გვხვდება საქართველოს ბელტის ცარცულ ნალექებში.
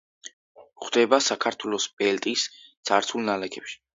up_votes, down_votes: 2, 0